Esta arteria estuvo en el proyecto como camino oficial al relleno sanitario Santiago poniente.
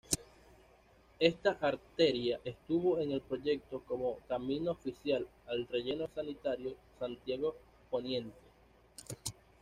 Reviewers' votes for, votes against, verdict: 2, 0, accepted